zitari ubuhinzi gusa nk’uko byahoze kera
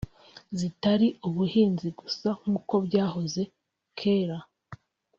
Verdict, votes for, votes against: accepted, 2, 0